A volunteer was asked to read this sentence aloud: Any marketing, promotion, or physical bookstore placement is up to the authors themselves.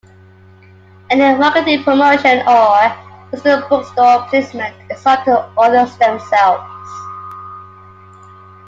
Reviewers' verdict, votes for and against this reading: rejected, 1, 2